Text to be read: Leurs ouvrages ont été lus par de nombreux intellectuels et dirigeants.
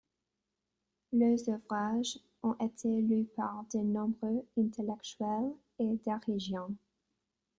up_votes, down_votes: 0, 2